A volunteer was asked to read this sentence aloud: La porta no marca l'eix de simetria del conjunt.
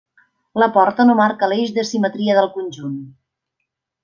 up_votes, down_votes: 3, 0